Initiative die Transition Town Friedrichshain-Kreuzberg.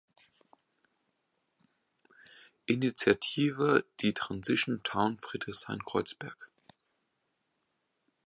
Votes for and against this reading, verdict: 2, 0, accepted